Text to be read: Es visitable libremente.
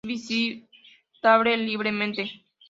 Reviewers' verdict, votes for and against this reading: rejected, 0, 3